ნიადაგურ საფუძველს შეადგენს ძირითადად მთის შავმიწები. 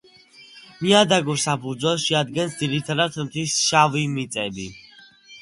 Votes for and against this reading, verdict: 2, 1, accepted